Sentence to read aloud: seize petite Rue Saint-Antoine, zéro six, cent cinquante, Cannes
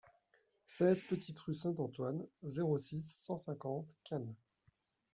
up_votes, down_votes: 0, 2